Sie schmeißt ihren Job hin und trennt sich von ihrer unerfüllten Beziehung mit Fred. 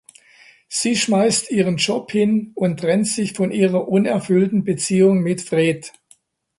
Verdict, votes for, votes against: accepted, 2, 0